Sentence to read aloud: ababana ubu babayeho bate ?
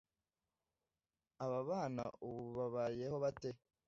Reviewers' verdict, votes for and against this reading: accepted, 2, 0